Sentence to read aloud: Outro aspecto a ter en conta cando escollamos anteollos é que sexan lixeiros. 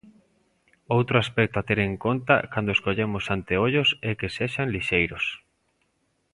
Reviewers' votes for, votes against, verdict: 2, 1, accepted